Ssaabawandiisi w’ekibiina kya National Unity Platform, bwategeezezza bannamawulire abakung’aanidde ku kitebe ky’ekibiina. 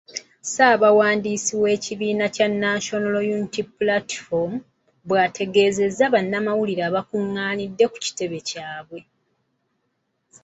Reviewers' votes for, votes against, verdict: 0, 2, rejected